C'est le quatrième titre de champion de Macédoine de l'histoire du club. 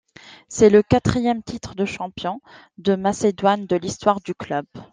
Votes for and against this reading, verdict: 2, 0, accepted